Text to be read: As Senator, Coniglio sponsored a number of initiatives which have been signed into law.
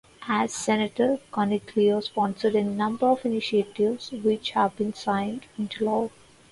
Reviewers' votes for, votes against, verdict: 0, 2, rejected